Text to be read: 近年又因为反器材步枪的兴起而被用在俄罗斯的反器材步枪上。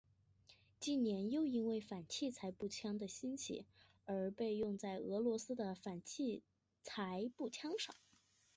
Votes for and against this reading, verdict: 4, 0, accepted